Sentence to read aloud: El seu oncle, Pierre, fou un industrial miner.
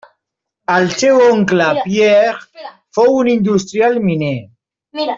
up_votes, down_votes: 1, 2